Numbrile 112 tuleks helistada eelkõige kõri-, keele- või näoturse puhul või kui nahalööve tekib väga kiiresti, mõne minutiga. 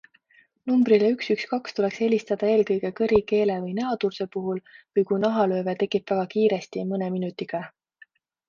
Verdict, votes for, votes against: rejected, 0, 2